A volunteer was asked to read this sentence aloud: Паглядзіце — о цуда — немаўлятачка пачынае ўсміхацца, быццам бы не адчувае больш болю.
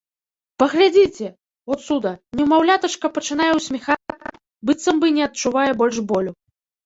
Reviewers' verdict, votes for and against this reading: rejected, 1, 2